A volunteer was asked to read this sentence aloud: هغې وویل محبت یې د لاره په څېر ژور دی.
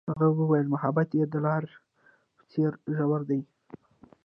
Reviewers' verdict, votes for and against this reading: rejected, 1, 2